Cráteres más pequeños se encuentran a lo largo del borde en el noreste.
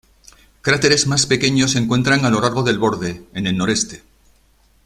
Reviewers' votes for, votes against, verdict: 2, 0, accepted